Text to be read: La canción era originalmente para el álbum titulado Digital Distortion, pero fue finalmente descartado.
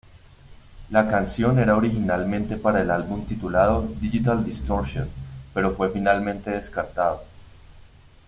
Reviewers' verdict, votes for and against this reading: accepted, 2, 0